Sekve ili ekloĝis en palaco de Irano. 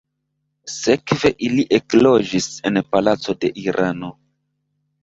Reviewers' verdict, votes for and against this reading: accepted, 2, 0